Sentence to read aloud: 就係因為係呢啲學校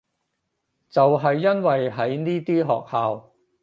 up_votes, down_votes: 0, 4